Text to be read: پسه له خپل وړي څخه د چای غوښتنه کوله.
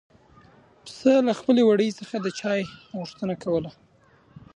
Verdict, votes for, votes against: accepted, 2, 1